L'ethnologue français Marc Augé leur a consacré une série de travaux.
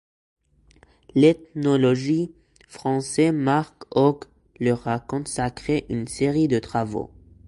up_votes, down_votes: 0, 2